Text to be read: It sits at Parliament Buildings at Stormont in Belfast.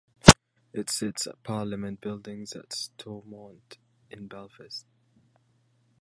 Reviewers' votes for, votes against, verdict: 0, 2, rejected